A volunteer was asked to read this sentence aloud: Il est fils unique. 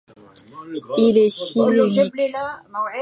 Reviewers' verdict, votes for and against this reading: rejected, 0, 2